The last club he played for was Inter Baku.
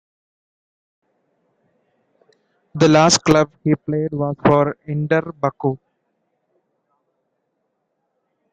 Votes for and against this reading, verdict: 1, 2, rejected